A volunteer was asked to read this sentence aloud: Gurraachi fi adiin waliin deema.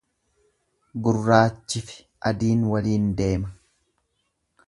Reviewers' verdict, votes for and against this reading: accepted, 2, 0